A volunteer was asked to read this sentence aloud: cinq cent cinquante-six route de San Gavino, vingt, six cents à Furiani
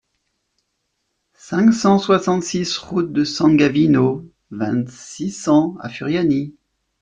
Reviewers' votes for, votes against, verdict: 1, 2, rejected